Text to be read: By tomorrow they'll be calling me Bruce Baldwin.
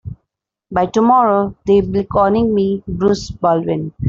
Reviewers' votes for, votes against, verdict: 2, 1, accepted